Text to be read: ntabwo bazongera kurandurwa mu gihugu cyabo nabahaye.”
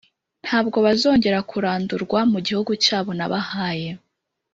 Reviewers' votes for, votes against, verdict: 2, 0, accepted